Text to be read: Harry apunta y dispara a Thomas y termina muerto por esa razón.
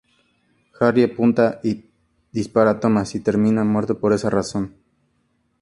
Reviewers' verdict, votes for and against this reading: accepted, 2, 0